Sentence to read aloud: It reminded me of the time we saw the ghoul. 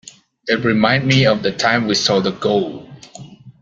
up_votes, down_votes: 0, 2